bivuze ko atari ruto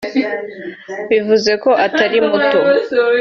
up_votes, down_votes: 0, 2